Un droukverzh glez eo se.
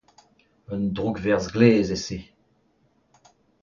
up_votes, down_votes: 2, 0